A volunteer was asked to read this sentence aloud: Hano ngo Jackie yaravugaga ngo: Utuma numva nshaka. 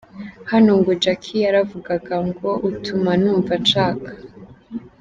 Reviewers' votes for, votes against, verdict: 2, 0, accepted